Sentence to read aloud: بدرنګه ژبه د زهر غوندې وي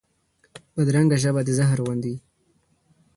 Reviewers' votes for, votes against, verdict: 2, 1, accepted